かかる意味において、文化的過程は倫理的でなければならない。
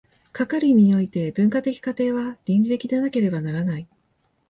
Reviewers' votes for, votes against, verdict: 3, 0, accepted